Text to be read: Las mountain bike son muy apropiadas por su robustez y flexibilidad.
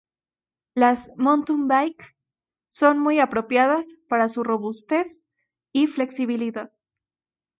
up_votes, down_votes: 2, 2